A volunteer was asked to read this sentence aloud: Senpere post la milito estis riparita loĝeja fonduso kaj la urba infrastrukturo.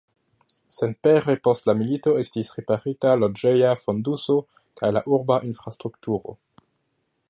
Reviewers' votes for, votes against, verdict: 2, 1, accepted